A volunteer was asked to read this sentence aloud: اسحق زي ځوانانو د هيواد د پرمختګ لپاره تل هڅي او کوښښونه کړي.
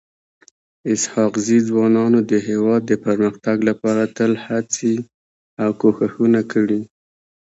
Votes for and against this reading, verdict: 1, 2, rejected